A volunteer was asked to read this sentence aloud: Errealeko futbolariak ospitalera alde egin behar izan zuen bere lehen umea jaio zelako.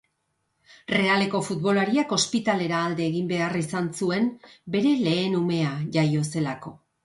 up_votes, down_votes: 2, 3